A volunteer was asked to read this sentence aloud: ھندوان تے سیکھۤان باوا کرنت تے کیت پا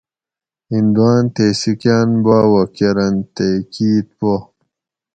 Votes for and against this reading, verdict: 2, 2, rejected